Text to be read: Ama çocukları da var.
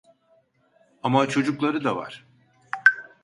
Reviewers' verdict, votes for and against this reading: accepted, 2, 0